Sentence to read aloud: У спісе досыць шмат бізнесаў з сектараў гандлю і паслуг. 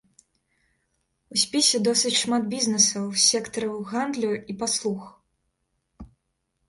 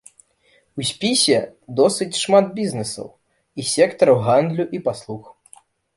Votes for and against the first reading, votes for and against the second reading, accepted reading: 2, 0, 1, 2, first